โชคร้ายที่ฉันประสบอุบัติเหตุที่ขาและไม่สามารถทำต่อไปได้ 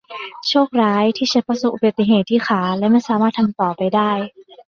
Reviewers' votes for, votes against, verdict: 2, 0, accepted